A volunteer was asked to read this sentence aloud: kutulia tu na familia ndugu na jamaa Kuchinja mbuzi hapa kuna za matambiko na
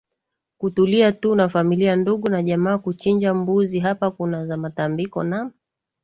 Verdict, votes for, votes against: accepted, 2, 0